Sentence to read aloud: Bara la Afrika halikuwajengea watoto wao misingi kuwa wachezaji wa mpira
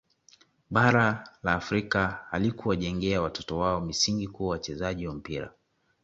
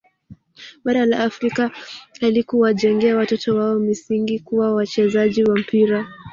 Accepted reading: first